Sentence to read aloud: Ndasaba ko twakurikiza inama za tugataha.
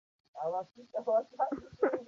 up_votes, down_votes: 0, 2